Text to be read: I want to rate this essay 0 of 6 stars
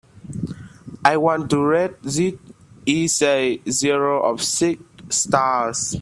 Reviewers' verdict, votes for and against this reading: rejected, 0, 2